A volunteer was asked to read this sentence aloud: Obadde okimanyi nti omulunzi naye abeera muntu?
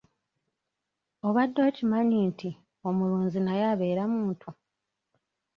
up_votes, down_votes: 0, 2